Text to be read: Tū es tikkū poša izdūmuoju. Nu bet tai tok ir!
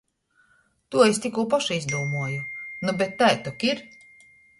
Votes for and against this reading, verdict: 0, 2, rejected